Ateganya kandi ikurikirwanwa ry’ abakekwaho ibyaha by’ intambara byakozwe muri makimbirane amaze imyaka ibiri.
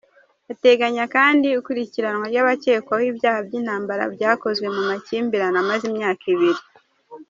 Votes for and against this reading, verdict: 1, 2, rejected